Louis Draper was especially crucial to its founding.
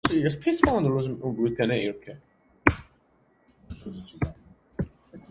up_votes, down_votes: 1, 2